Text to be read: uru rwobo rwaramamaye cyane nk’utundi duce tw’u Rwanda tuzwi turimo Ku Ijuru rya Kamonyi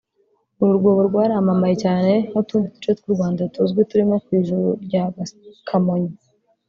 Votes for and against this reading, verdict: 1, 2, rejected